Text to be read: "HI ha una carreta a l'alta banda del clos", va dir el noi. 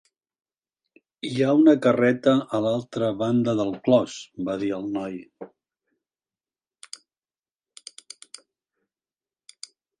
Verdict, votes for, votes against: rejected, 0, 2